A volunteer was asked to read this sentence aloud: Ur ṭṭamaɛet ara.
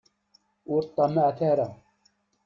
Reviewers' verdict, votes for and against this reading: accepted, 2, 0